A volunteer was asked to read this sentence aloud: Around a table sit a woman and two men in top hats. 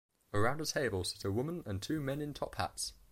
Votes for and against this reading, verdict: 1, 2, rejected